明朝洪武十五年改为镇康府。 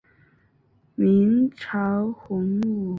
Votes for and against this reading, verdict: 4, 3, accepted